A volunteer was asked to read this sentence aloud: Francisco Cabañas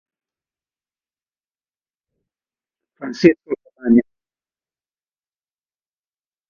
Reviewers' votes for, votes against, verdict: 0, 2, rejected